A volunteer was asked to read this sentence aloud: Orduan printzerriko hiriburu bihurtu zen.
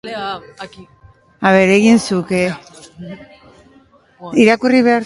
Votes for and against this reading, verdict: 0, 2, rejected